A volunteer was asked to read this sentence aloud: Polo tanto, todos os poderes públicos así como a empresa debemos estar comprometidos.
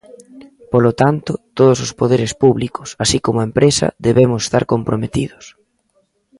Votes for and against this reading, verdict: 2, 0, accepted